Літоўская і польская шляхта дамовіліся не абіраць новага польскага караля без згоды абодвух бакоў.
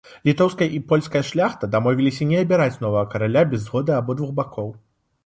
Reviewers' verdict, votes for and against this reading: rejected, 0, 2